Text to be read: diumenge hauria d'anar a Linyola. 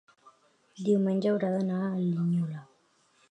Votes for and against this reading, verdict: 1, 2, rejected